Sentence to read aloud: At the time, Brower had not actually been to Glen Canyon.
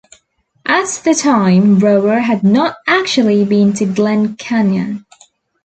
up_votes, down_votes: 2, 0